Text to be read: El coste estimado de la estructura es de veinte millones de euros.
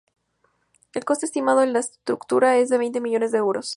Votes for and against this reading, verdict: 0, 4, rejected